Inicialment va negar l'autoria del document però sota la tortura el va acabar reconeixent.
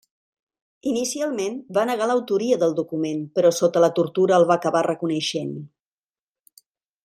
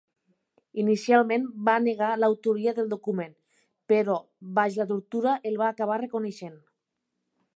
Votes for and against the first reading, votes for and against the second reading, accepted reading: 4, 0, 0, 3, first